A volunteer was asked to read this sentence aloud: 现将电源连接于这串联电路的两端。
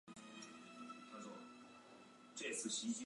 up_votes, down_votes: 0, 3